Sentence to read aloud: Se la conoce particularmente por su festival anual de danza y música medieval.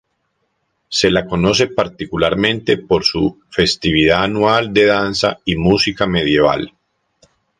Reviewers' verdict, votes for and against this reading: rejected, 0, 2